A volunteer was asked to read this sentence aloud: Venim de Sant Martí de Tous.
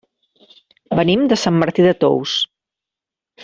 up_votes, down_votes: 3, 0